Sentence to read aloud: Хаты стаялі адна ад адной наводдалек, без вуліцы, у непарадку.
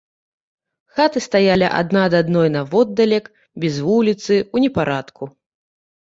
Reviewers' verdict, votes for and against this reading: rejected, 0, 2